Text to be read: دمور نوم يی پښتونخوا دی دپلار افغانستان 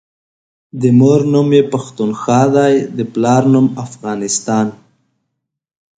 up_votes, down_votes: 2, 0